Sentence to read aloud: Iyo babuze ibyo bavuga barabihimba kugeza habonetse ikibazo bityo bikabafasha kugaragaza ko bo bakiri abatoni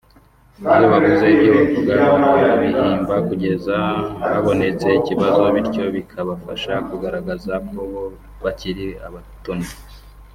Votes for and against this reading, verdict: 1, 2, rejected